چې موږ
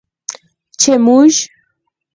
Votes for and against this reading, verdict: 4, 0, accepted